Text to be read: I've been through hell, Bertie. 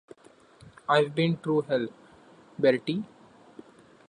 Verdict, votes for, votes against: accepted, 3, 1